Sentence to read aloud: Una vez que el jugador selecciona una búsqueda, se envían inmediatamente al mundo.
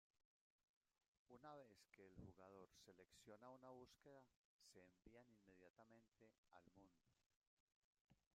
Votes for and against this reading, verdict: 0, 2, rejected